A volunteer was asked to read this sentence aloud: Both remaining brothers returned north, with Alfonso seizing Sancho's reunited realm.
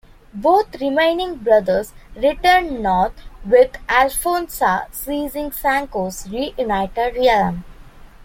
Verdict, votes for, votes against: rejected, 0, 2